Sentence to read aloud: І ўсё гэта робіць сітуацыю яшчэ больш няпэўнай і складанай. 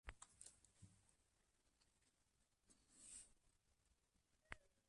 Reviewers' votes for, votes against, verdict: 1, 2, rejected